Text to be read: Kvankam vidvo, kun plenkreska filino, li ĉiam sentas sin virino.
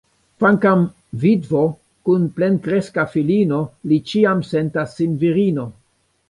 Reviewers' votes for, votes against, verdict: 2, 1, accepted